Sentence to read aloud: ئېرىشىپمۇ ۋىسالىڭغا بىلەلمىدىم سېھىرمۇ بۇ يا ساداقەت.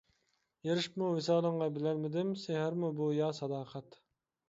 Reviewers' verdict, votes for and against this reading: accepted, 2, 1